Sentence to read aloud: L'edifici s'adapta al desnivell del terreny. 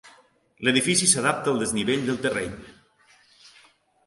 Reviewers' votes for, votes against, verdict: 2, 0, accepted